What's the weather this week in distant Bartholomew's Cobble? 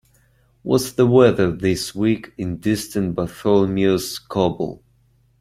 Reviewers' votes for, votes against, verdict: 2, 0, accepted